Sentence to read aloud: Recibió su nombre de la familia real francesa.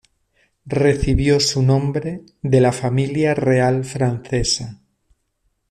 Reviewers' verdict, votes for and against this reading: accepted, 2, 0